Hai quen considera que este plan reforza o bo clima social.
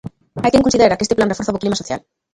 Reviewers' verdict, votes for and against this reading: rejected, 0, 2